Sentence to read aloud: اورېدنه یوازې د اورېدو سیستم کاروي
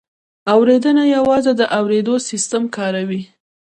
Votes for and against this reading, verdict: 2, 0, accepted